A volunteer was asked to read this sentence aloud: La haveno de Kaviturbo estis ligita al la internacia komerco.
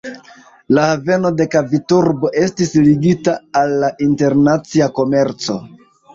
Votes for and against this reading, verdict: 1, 2, rejected